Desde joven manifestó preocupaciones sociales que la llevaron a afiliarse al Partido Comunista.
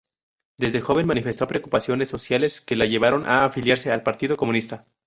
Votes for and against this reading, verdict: 2, 2, rejected